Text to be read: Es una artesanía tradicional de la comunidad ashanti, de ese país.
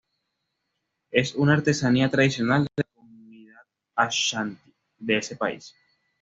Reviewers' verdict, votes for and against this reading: rejected, 1, 2